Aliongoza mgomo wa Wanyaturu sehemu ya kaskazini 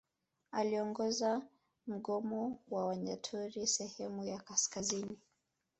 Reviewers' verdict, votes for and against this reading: accepted, 2, 0